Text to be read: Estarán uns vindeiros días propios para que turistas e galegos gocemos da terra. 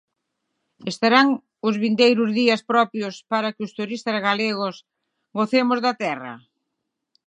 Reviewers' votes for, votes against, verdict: 36, 39, rejected